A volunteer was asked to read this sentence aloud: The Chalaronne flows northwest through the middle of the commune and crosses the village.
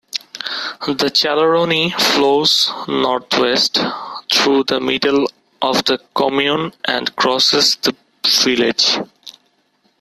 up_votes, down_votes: 2, 1